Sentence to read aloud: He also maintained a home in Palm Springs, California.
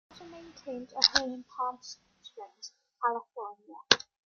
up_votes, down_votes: 1, 2